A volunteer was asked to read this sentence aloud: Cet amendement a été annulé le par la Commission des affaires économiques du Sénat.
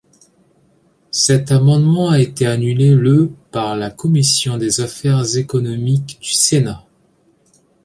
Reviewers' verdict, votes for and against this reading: accepted, 2, 0